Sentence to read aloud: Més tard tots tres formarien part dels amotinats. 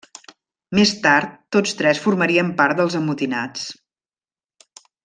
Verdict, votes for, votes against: accepted, 3, 0